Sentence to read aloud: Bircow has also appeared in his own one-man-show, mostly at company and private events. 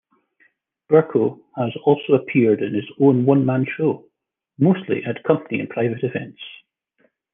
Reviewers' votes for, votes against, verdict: 2, 0, accepted